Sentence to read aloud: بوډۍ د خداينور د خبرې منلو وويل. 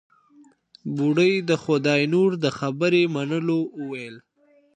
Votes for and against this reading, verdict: 2, 0, accepted